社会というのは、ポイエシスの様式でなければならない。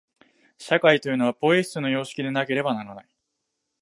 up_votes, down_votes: 0, 2